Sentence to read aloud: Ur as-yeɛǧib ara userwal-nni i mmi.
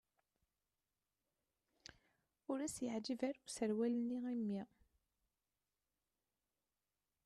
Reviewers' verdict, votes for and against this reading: rejected, 1, 2